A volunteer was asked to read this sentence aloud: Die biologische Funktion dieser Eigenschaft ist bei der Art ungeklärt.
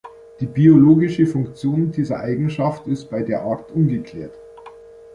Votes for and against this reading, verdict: 2, 0, accepted